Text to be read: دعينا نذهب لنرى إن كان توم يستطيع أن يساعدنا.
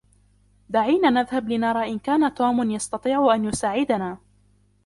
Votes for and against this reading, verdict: 0, 2, rejected